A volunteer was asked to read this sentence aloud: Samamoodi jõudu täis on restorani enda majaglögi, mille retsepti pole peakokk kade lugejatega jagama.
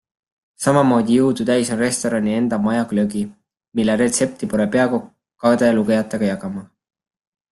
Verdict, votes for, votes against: accepted, 2, 0